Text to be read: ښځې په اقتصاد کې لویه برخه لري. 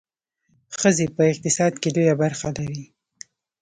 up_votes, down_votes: 0, 2